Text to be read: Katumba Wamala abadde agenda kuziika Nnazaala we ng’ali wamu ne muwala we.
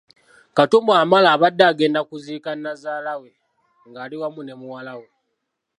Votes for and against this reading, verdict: 2, 0, accepted